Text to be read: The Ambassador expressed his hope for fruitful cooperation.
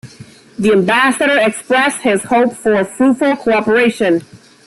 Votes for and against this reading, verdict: 2, 0, accepted